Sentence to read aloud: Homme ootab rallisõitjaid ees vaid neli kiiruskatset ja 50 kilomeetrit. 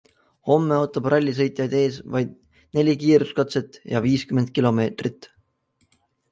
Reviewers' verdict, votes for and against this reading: rejected, 0, 2